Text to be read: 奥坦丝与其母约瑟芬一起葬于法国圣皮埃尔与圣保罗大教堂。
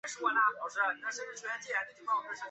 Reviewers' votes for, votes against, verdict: 0, 3, rejected